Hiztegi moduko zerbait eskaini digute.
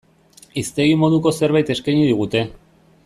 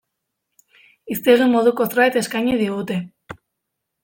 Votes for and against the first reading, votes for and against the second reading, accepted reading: 2, 0, 1, 2, first